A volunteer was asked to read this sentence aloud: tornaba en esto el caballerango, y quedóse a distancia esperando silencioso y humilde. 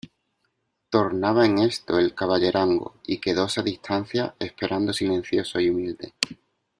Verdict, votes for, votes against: accepted, 2, 0